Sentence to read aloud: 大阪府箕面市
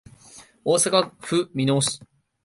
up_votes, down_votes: 2, 0